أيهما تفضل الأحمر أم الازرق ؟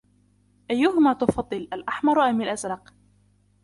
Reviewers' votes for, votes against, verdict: 2, 1, accepted